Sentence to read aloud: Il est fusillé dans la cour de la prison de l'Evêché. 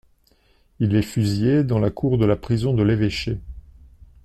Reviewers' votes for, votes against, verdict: 2, 0, accepted